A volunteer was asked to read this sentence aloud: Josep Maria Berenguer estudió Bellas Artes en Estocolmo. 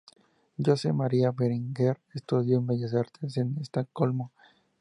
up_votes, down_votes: 4, 0